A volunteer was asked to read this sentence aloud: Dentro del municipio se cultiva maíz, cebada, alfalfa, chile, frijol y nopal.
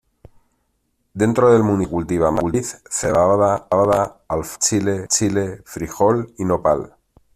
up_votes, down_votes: 0, 2